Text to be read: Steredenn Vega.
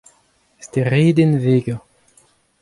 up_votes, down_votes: 2, 0